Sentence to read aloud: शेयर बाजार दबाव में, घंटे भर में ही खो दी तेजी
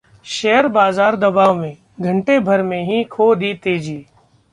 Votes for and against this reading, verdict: 2, 0, accepted